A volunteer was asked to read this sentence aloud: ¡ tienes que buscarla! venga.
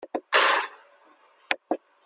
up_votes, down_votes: 0, 2